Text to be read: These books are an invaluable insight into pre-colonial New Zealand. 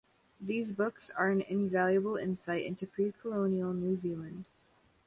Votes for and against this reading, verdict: 2, 0, accepted